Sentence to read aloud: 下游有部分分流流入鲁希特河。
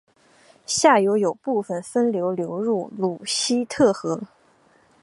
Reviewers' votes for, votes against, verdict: 2, 0, accepted